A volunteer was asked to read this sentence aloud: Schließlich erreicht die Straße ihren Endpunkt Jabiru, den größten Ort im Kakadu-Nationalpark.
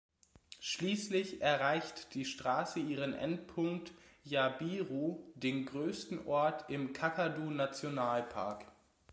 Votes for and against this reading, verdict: 2, 0, accepted